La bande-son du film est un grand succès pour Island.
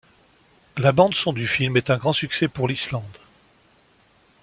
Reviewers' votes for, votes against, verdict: 1, 2, rejected